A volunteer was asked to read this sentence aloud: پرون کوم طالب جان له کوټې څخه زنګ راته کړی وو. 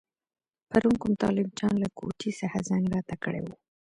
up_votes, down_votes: 2, 0